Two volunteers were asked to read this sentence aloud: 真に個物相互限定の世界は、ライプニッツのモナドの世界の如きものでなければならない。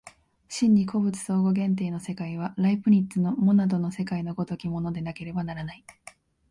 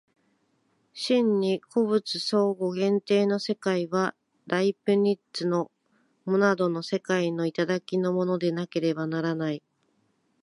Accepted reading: first